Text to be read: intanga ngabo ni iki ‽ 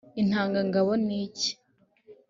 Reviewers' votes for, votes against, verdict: 3, 0, accepted